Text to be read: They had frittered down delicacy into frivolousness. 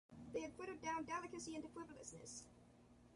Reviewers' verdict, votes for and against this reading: rejected, 0, 2